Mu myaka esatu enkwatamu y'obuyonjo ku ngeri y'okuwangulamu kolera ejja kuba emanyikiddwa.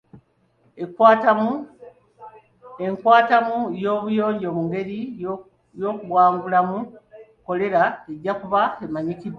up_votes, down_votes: 2, 1